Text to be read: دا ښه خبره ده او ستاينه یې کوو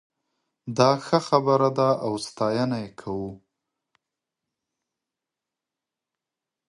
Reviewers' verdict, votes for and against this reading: accepted, 2, 0